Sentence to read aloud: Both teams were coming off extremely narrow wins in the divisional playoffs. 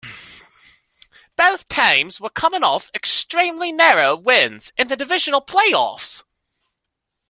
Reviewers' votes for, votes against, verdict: 2, 0, accepted